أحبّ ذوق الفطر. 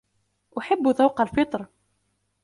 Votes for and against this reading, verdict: 2, 0, accepted